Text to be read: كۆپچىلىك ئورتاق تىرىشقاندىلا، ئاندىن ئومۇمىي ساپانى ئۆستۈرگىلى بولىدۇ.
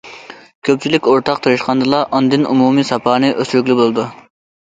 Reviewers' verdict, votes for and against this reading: accepted, 2, 0